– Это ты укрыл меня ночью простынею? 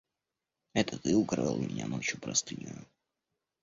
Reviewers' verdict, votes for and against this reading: rejected, 1, 2